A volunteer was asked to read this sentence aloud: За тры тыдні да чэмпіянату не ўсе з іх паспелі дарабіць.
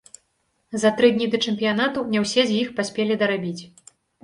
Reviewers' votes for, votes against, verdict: 1, 2, rejected